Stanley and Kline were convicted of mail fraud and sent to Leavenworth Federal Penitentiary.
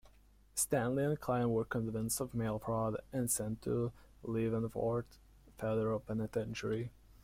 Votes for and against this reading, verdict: 0, 2, rejected